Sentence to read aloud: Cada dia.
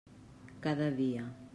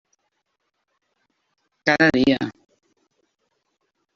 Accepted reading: first